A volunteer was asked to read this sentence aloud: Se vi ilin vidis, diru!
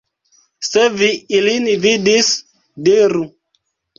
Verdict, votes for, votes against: rejected, 0, 2